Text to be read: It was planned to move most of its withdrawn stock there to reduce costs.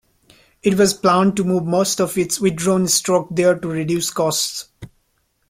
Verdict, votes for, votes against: accepted, 2, 0